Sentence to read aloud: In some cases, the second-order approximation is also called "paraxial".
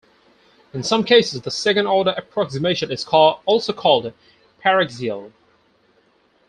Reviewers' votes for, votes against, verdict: 2, 4, rejected